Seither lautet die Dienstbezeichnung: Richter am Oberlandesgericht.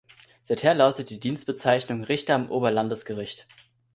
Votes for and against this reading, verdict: 2, 0, accepted